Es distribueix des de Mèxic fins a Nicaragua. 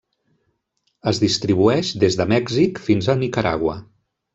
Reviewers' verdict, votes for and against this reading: rejected, 1, 2